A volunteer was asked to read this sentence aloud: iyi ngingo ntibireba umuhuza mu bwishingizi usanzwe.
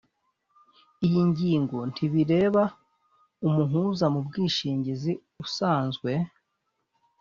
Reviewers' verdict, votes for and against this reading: accepted, 2, 0